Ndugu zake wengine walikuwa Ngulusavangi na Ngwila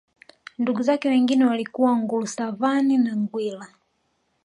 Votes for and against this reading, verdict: 3, 1, accepted